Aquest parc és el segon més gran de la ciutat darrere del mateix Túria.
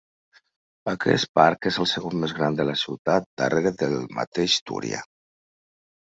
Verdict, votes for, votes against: accepted, 2, 0